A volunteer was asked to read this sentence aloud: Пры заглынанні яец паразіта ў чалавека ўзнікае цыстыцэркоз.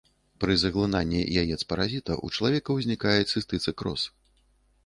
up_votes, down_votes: 1, 2